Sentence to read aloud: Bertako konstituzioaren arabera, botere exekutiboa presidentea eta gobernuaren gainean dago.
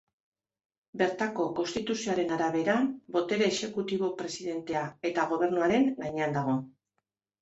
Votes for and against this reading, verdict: 0, 2, rejected